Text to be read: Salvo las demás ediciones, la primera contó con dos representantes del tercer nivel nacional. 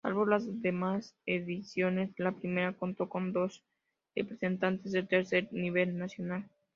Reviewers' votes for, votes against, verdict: 2, 0, accepted